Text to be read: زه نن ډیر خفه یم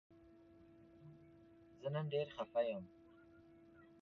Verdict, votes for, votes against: rejected, 1, 2